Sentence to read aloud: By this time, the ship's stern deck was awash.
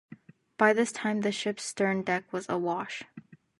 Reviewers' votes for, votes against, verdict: 2, 0, accepted